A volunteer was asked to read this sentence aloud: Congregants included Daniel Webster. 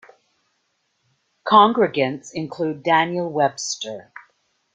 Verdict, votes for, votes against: rejected, 1, 2